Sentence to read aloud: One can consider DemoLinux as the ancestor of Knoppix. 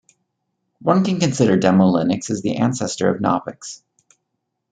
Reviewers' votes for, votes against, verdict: 2, 1, accepted